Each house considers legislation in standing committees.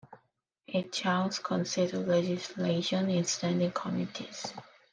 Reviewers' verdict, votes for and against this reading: accepted, 2, 0